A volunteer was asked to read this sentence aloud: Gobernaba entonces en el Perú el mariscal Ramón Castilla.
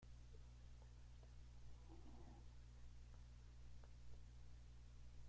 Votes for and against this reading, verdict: 0, 2, rejected